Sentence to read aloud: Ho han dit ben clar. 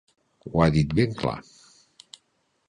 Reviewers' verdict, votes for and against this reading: rejected, 1, 3